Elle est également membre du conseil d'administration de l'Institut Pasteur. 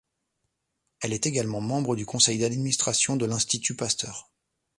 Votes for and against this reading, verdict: 2, 0, accepted